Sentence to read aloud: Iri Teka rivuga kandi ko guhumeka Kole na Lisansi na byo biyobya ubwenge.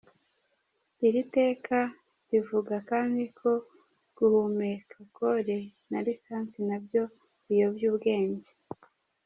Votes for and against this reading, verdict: 2, 0, accepted